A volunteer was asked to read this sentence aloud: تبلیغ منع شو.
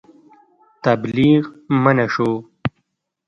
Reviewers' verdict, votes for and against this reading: accepted, 2, 0